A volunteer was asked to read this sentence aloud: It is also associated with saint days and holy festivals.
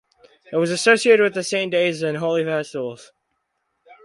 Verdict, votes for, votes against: rejected, 0, 4